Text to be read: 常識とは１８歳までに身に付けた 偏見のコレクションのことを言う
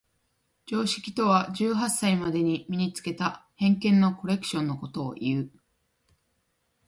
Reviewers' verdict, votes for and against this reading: rejected, 0, 2